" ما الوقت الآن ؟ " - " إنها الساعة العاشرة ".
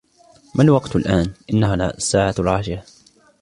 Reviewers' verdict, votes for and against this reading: accepted, 3, 1